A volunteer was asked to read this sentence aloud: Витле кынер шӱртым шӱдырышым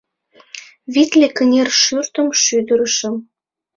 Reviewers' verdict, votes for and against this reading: accepted, 2, 0